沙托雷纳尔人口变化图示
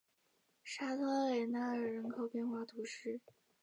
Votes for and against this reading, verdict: 4, 1, accepted